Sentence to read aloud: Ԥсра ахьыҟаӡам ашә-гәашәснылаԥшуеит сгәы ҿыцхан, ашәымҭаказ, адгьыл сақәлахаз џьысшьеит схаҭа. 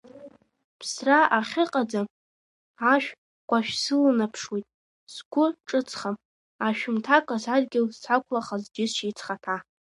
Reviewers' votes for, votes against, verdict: 0, 2, rejected